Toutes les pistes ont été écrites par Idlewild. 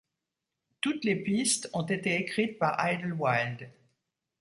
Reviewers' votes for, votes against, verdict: 2, 0, accepted